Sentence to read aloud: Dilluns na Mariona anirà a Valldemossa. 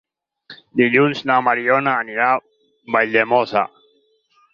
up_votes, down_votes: 2, 4